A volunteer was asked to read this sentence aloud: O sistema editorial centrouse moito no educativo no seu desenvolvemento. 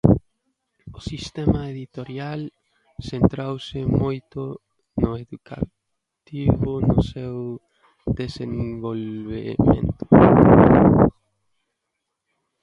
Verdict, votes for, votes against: rejected, 0, 2